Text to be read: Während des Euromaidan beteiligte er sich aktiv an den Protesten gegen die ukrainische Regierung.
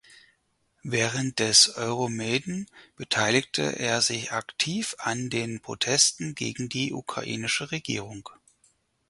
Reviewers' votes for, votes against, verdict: 0, 4, rejected